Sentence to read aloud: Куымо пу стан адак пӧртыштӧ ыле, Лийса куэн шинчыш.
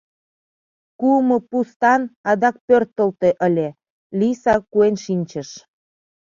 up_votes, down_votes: 0, 2